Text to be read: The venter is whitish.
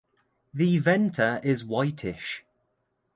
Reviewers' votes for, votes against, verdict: 2, 0, accepted